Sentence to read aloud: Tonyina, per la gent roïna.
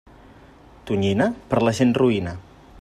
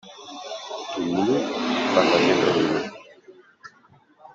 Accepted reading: first